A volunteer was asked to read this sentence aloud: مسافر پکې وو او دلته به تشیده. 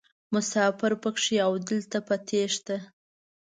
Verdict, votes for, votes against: rejected, 1, 2